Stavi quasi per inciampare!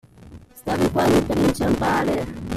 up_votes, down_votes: 0, 2